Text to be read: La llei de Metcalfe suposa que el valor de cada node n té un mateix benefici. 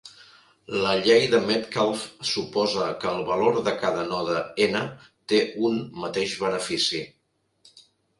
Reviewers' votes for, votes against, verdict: 4, 0, accepted